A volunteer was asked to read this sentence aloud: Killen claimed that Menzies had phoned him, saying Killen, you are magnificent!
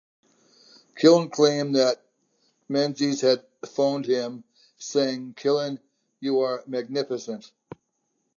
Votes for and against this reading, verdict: 2, 0, accepted